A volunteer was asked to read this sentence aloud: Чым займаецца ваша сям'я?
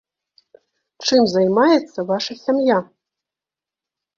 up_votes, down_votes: 2, 0